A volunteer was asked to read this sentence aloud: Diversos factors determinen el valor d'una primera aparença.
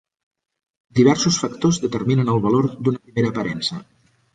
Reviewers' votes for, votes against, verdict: 3, 1, accepted